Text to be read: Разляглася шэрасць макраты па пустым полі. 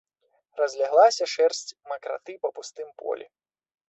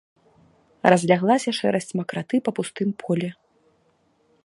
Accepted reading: second